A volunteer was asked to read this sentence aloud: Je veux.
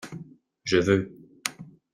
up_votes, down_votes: 2, 0